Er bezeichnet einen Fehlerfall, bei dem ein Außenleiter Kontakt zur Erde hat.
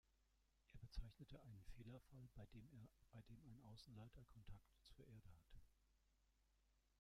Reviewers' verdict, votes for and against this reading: rejected, 0, 2